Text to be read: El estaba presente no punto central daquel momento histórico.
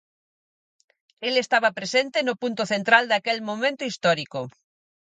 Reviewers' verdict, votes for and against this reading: accepted, 4, 0